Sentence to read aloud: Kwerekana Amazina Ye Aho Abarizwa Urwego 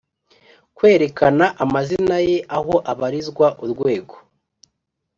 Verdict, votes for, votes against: accepted, 3, 0